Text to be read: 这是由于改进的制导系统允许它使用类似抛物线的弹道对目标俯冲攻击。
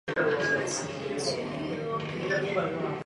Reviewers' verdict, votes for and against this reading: rejected, 2, 3